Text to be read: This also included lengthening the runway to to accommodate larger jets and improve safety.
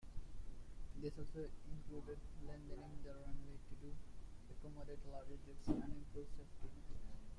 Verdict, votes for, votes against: rejected, 0, 2